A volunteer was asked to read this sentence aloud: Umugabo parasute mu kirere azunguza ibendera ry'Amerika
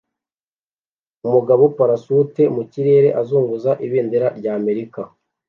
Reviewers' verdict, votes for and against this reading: accepted, 2, 0